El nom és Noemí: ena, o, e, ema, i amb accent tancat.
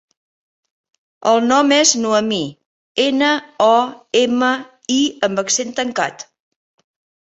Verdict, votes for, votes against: rejected, 0, 2